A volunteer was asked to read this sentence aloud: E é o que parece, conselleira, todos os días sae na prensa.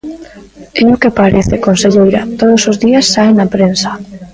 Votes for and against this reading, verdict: 0, 2, rejected